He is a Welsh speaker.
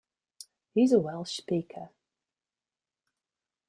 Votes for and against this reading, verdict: 1, 2, rejected